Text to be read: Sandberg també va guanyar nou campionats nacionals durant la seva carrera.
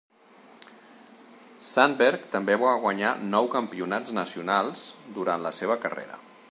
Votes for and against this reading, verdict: 2, 0, accepted